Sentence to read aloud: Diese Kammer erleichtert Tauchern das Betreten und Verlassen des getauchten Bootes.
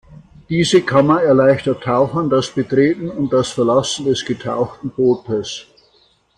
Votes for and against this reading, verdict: 1, 2, rejected